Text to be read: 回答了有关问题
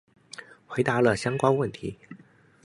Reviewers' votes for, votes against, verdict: 0, 2, rejected